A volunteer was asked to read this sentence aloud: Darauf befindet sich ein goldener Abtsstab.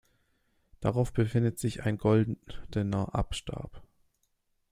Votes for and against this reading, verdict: 1, 2, rejected